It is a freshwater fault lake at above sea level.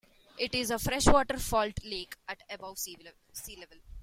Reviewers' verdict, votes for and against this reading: accepted, 2, 1